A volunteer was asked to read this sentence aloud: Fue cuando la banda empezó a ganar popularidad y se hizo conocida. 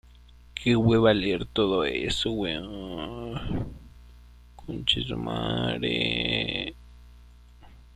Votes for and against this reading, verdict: 0, 2, rejected